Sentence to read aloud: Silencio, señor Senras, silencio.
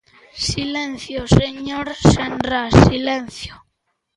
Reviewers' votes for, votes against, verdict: 2, 1, accepted